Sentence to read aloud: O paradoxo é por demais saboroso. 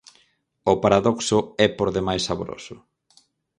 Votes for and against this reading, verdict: 2, 2, rejected